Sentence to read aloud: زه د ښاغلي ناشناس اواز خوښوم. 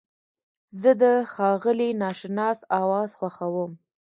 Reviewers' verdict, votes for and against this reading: accepted, 2, 0